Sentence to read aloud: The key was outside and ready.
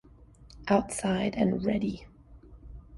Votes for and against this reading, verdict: 1, 2, rejected